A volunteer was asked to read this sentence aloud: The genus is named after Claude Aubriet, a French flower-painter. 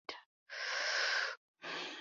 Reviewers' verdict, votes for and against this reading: rejected, 0, 2